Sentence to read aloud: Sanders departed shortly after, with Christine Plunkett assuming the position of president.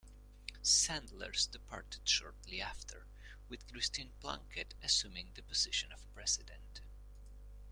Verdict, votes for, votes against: accepted, 2, 0